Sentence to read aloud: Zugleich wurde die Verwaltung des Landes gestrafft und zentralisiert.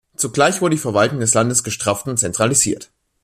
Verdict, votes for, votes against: rejected, 0, 2